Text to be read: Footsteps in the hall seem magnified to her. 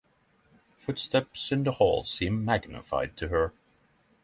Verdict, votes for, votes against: accepted, 6, 0